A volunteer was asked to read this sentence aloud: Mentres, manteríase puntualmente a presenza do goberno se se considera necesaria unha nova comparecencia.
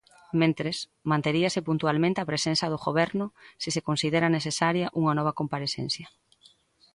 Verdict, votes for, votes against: accepted, 2, 0